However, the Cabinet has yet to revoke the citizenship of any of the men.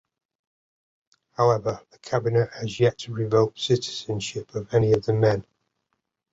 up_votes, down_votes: 2, 1